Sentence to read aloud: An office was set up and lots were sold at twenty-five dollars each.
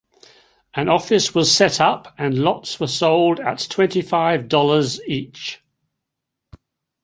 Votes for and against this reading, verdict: 2, 0, accepted